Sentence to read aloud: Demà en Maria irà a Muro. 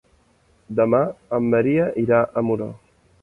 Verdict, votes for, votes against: accepted, 2, 0